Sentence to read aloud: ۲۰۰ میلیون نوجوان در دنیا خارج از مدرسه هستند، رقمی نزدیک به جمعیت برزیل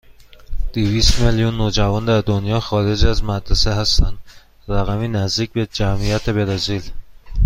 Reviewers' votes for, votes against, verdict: 0, 2, rejected